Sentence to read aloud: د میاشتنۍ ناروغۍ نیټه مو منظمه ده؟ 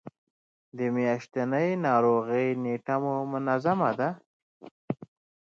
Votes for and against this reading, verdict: 0, 2, rejected